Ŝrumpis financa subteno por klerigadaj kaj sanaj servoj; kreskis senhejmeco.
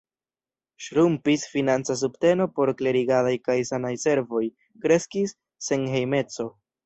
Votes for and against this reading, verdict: 1, 2, rejected